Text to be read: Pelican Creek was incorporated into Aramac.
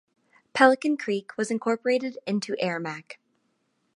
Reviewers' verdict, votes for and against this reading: accepted, 2, 0